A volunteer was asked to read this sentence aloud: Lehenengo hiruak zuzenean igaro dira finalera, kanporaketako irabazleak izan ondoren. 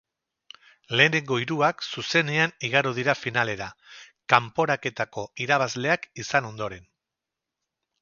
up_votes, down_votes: 4, 0